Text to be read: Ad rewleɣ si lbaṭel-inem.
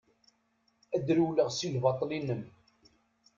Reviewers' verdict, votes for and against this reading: accepted, 2, 0